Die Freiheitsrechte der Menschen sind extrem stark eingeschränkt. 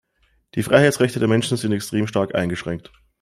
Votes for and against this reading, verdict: 2, 1, accepted